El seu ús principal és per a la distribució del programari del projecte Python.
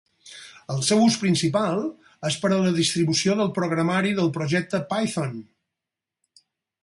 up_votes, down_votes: 4, 0